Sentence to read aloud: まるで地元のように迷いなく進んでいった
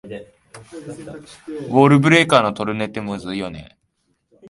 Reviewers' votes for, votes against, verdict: 1, 3, rejected